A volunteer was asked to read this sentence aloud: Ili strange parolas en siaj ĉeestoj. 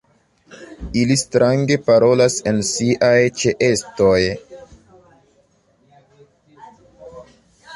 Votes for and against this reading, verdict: 1, 2, rejected